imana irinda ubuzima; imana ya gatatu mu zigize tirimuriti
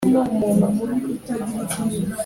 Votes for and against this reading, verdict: 0, 2, rejected